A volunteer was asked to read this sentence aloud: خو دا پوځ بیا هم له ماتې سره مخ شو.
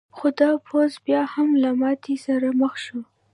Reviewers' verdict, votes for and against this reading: accepted, 2, 0